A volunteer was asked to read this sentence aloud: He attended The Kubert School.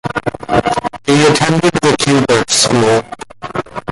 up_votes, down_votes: 1, 2